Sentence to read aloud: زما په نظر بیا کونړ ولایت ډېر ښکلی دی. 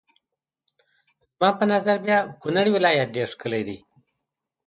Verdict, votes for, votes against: accepted, 2, 0